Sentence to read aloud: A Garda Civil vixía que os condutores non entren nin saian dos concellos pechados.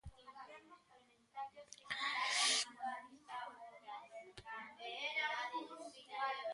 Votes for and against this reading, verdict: 0, 2, rejected